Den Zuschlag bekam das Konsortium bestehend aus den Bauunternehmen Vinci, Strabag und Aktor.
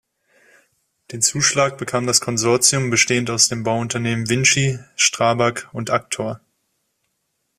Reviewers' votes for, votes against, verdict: 2, 0, accepted